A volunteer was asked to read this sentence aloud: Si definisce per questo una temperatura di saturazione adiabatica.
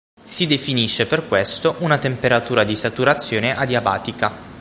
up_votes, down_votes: 6, 0